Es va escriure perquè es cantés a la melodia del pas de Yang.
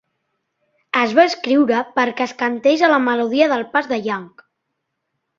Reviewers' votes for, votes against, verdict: 2, 0, accepted